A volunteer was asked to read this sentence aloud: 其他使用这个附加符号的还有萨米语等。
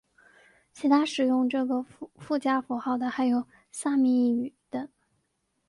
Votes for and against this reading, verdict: 4, 0, accepted